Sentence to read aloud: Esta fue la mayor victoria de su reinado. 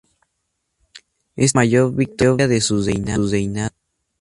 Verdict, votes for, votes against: rejected, 0, 2